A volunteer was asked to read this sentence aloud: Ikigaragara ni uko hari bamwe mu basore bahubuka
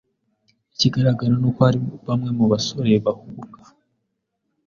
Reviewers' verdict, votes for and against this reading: accepted, 2, 0